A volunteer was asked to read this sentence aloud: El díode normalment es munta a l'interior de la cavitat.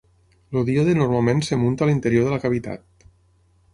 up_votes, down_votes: 3, 6